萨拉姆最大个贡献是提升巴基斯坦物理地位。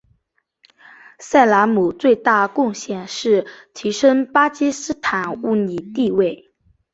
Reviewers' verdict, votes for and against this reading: accepted, 3, 1